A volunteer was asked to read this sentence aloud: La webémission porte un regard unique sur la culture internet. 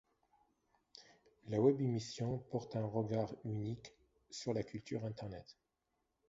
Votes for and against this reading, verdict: 0, 2, rejected